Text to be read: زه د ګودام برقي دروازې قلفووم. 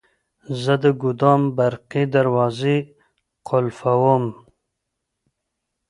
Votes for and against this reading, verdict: 2, 0, accepted